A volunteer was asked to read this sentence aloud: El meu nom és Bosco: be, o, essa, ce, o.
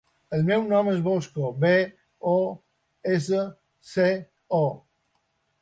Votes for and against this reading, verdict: 2, 1, accepted